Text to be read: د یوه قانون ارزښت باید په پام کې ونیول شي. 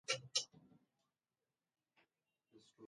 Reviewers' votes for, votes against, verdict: 1, 2, rejected